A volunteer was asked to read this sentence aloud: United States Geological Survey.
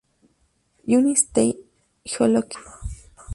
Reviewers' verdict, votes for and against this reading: rejected, 0, 2